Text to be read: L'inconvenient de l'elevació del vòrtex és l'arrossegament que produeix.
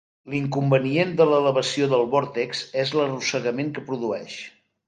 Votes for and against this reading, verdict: 2, 0, accepted